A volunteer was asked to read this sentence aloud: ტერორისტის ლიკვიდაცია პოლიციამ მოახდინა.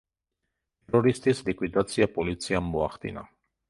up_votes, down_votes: 0, 2